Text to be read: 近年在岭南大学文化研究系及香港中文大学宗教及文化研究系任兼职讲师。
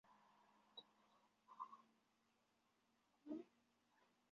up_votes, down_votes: 5, 2